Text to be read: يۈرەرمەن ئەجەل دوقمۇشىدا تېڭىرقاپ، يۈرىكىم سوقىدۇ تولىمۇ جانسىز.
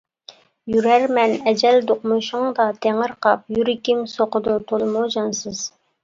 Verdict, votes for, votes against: rejected, 1, 2